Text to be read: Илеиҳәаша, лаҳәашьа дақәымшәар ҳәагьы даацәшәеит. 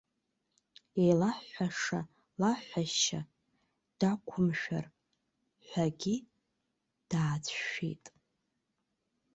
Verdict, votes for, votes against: rejected, 0, 2